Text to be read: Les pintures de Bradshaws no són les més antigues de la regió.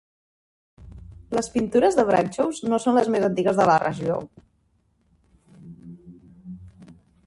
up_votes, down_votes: 2, 0